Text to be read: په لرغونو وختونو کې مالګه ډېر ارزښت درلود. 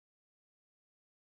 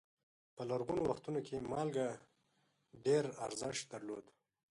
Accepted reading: second